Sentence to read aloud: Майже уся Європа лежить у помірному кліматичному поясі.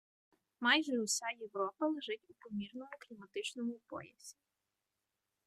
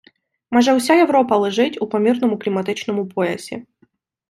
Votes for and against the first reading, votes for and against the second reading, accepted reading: 1, 2, 2, 0, second